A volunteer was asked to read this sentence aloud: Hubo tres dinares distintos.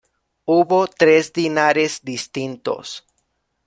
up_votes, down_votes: 2, 0